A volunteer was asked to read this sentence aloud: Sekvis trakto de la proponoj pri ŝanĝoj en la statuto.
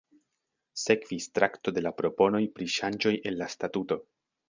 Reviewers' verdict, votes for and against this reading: accepted, 2, 0